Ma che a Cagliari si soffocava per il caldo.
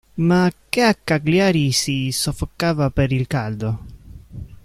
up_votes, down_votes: 1, 2